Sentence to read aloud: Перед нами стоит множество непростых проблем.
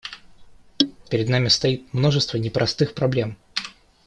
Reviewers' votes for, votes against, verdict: 2, 0, accepted